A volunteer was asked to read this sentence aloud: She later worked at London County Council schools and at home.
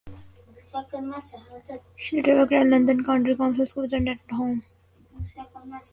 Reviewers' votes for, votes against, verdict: 0, 2, rejected